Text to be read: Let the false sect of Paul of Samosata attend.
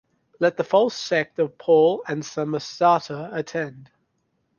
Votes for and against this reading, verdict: 1, 2, rejected